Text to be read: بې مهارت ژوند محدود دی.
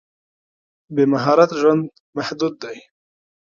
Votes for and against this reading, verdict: 2, 1, accepted